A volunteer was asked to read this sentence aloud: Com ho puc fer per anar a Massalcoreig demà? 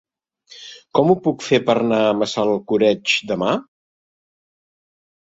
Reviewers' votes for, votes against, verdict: 1, 2, rejected